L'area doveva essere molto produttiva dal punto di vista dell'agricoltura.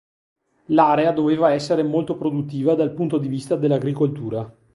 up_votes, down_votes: 2, 0